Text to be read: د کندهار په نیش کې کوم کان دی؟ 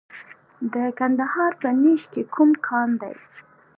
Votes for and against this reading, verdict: 2, 1, accepted